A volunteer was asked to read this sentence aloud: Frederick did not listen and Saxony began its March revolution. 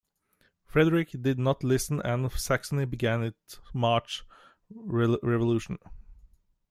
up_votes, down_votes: 0, 2